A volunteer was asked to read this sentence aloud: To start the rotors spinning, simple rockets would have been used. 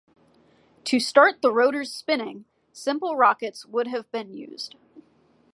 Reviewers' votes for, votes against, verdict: 2, 0, accepted